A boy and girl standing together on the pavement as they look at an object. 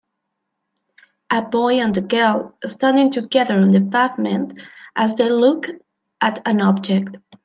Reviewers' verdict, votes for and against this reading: accepted, 2, 1